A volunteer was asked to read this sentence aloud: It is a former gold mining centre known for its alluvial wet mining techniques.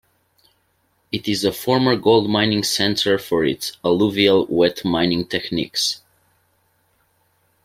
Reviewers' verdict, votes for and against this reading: rejected, 1, 2